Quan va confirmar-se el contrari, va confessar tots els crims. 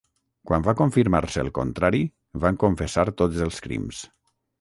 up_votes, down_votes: 3, 3